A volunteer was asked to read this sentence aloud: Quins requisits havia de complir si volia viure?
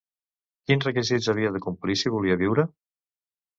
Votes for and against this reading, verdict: 2, 0, accepted